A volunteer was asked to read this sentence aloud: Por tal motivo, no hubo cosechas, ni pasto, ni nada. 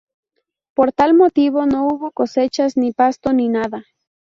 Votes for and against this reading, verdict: 2, 0, accepted